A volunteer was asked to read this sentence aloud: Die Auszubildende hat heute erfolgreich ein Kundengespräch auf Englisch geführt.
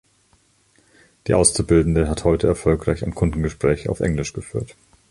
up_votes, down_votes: 1, 2